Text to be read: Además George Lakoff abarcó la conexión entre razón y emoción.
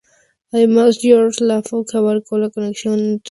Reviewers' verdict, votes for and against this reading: rejected, 0, 2